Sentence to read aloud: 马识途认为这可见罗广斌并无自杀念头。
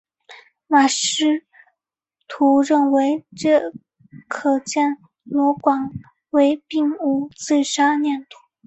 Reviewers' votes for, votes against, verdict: 0, 4, rejected